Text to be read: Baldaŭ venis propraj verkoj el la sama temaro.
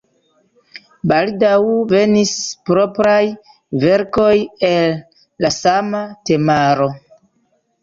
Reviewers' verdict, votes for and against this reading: rejected, 1, 2